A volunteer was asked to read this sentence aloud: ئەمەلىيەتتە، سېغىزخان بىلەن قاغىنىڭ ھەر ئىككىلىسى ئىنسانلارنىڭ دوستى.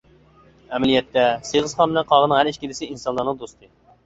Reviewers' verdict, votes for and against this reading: accepted, 2, 0